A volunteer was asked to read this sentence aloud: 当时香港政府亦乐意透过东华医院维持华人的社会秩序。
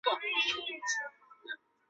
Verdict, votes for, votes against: rejected, 0, 2